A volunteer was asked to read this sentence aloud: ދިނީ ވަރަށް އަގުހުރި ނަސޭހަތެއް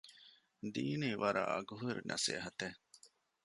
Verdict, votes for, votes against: rejected, 1, 2